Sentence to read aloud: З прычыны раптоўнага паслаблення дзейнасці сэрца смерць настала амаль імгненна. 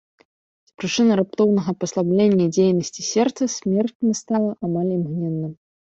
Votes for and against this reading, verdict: 1, 2, rejected